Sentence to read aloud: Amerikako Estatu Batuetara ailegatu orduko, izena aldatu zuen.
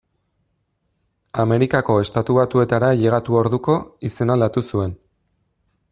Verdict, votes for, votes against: accepted, 2, 0